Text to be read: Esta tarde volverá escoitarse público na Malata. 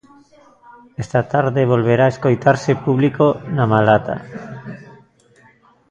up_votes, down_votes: 0, 2